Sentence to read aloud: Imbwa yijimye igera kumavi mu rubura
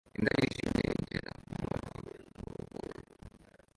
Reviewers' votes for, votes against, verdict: 0, 2, rejected